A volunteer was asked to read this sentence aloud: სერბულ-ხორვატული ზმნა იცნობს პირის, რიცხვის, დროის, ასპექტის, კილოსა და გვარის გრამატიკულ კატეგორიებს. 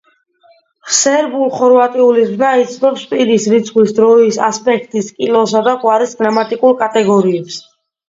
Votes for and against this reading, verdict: 2, 0, accepted